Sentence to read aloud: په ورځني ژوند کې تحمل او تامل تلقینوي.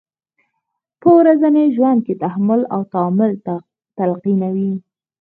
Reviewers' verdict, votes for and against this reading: rejected, 0, 4